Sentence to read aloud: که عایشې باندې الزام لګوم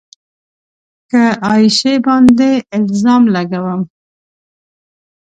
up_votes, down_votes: 2, 0